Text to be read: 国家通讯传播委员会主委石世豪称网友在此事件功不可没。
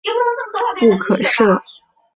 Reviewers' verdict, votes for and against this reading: rejected, 0, 3